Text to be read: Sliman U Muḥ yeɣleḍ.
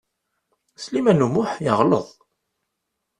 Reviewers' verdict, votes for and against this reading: accepted, 2, 0